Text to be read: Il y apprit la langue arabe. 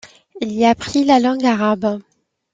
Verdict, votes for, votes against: accepted, 2, 0